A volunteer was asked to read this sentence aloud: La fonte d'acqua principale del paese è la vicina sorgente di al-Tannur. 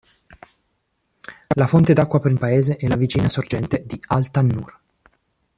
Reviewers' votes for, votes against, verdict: 1, 3, rejected